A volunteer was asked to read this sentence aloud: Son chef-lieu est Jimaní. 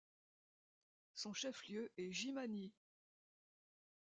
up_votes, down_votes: 1, 2